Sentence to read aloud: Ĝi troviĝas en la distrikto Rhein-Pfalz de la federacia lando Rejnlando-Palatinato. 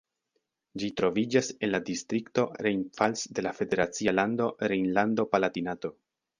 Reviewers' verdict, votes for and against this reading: accepted, 2, 1